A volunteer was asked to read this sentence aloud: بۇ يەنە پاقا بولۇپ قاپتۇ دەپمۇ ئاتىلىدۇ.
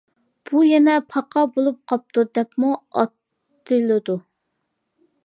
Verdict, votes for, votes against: accepted, 2, 0